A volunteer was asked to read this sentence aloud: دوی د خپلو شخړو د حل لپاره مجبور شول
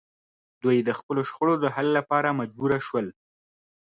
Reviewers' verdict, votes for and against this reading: accepted, 2, 0